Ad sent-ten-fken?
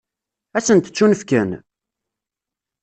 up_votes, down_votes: 0, 2